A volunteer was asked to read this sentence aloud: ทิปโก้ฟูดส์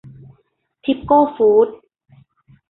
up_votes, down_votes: 2, 0